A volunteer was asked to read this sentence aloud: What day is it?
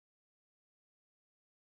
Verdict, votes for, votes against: rejected, 0, 2